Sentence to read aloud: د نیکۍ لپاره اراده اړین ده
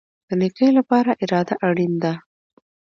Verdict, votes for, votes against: accepted, 2, 0